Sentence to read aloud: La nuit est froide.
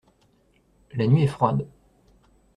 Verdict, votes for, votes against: accepted, 2, 0